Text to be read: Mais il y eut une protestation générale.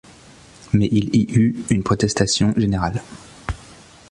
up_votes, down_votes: 2, 0